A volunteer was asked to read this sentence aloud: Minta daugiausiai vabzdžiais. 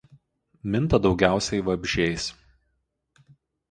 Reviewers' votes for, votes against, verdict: 2, 0, accepted